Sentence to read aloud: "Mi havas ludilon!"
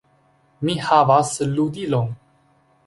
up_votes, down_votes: 2, 0